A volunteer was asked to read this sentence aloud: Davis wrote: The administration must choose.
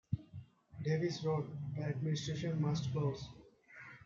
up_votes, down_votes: 0, 3